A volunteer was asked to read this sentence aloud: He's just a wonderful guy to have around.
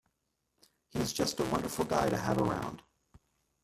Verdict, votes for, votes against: rejected, 0, 2